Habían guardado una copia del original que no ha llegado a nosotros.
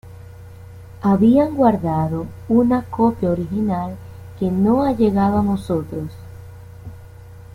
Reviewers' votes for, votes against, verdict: 0, 2, rejected